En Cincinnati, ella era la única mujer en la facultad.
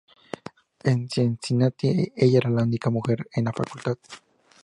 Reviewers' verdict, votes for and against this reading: rejected, 2, 2